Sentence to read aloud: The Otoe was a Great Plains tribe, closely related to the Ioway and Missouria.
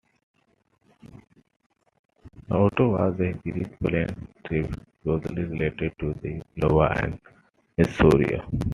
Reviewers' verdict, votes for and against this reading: rejected, 0, 2